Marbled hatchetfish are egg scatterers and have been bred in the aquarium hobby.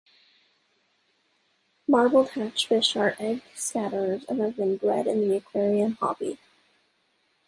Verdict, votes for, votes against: rejected, 1, 2